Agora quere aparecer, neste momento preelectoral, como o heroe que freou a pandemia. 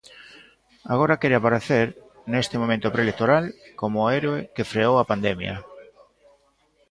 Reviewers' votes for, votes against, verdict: 1, 2, rejected